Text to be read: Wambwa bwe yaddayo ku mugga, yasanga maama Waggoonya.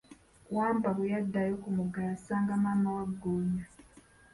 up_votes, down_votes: 1, 2